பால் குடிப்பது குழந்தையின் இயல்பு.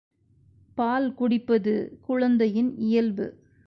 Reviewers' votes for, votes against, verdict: 2, 0, accepted